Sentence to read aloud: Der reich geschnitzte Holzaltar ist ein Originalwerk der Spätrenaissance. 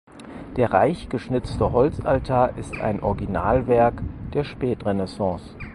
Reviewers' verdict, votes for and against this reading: accepted, 4, 0